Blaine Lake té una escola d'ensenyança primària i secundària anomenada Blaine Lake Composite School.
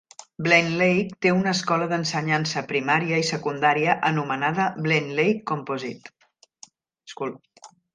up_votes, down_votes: 0, 2